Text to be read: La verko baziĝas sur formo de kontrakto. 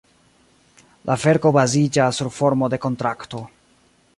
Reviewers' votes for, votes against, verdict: 2, 0, accepted